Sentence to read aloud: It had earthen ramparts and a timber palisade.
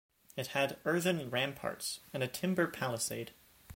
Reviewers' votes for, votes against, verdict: 2, 0, accepted